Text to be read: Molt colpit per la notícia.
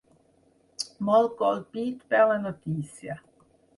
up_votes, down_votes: 6, 0